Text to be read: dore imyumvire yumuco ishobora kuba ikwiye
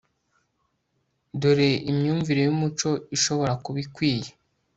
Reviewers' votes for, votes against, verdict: 2, 0, accepted